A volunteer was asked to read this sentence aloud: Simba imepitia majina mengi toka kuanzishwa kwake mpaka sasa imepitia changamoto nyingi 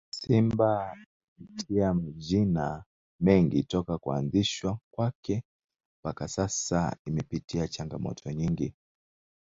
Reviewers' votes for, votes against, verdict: 2, 0, accepted